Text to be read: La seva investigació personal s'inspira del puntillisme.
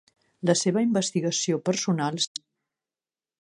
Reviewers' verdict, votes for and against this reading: rejected, 0, 3